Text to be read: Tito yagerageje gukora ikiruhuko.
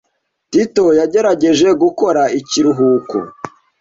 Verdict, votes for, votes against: accepted, 2, 0